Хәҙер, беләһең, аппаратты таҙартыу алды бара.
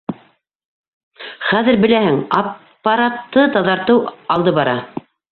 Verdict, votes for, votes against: rejected, 1, 2